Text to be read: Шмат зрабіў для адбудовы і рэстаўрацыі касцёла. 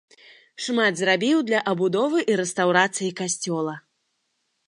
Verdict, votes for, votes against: accepted, 2, 0